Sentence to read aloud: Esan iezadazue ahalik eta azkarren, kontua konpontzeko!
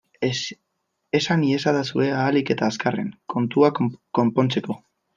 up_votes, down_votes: 1, 2